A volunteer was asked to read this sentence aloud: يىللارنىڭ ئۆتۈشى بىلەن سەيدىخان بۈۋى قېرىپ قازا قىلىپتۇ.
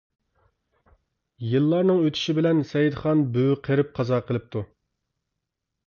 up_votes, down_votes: 2, 0